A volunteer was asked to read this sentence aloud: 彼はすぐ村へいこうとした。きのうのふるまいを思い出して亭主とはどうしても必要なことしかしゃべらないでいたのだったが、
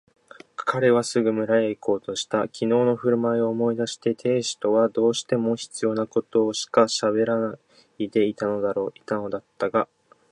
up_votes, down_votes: 0, 2